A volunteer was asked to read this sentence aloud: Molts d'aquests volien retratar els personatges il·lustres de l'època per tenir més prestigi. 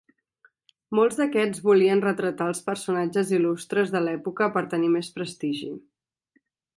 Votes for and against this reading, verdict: 2, 0, accepted